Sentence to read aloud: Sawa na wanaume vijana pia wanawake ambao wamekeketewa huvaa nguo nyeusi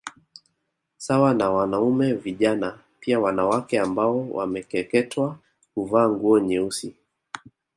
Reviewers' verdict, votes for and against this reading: accepted, 2, 0